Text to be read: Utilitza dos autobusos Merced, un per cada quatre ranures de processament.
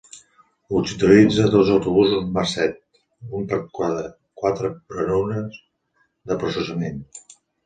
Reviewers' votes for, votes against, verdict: 0, 2, rejected